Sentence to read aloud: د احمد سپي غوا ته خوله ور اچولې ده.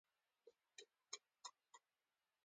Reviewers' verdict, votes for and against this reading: rejected, 1, 2